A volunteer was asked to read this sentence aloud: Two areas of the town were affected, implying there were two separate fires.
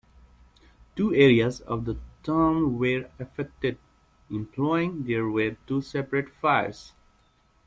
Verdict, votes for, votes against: accepted, 2, 1